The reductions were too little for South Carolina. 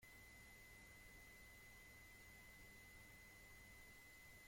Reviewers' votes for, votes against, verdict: 0, 2, rejected